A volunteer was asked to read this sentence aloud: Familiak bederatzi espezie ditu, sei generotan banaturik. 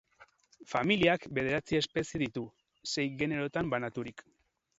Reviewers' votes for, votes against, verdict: 2, 0, accepted